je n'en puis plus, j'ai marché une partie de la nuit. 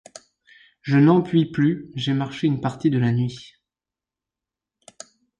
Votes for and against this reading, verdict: 2, 0, accepted